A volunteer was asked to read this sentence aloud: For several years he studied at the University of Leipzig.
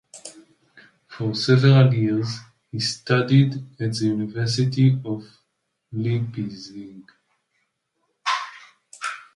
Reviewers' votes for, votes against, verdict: 1, 2, rejected